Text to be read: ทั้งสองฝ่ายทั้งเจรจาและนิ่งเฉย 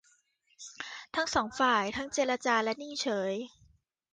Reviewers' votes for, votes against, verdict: 2, 0, accepted